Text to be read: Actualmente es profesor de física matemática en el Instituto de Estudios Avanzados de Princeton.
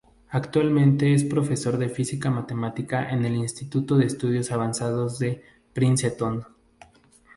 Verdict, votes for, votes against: rejected, 0, 2